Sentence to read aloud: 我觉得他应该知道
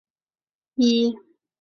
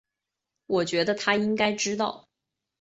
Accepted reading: second